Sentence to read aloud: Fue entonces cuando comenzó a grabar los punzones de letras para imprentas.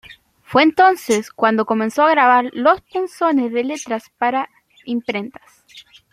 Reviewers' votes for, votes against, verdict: 2, 0, accepted